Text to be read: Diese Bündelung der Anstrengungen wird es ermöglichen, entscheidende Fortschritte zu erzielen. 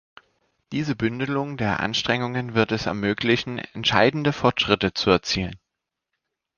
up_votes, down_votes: 2, 0